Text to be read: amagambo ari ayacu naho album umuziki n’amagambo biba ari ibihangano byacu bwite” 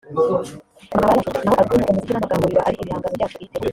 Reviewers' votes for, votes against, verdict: 1, 2, rejected